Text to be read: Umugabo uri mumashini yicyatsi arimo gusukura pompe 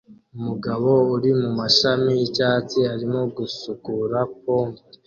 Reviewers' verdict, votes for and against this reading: accepted, 2, 0